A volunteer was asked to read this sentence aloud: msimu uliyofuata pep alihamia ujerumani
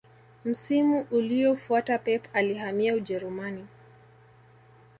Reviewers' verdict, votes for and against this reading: rejected, 1, 2